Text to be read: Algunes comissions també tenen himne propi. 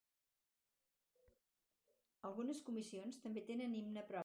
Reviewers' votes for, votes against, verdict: 0, 4, rejected